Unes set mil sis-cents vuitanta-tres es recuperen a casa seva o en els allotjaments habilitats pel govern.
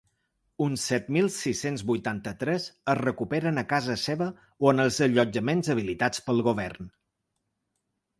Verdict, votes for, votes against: rejected, 0, 2